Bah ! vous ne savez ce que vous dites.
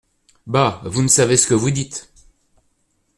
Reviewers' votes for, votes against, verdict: 2, 0, accepted